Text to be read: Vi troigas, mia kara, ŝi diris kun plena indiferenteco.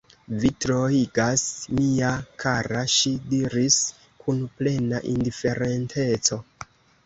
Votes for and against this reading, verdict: 2, 0, accepted